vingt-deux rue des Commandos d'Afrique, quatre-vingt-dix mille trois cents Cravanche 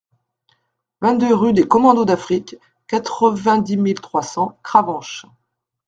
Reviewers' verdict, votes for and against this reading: accepted, 2, 0